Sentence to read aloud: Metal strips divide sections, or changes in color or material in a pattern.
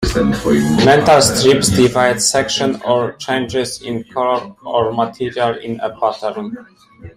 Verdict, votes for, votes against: rejected, 0, 2